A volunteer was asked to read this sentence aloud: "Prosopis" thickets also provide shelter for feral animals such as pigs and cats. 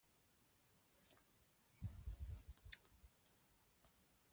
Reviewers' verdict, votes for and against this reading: rejected, 0, 2